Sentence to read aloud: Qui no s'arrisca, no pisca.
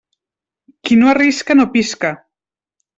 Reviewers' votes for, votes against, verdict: 1, 2, rejected